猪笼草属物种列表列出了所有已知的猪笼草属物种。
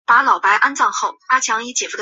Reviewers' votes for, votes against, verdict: 0, 3, rejected